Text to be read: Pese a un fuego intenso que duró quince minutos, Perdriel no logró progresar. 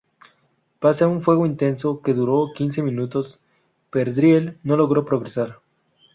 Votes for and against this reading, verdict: 0, 2, rejected